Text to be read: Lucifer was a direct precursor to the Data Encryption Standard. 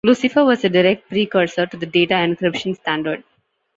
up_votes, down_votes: 2, 0